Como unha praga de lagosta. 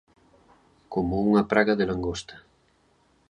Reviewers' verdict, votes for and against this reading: rejected, 0, 2